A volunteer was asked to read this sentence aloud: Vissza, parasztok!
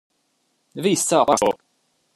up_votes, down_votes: 0, 2